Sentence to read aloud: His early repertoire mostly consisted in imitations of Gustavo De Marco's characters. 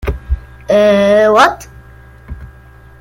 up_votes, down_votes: 0, 2